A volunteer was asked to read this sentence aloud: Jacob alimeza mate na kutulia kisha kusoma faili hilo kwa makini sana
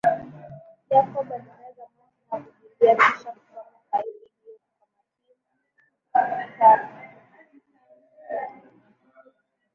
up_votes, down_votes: 4, 9